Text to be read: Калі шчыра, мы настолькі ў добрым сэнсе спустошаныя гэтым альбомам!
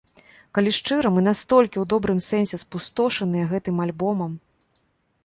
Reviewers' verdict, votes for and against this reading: accepted, 2, 0